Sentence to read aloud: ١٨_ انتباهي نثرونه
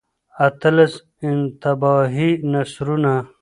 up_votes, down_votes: 0, 2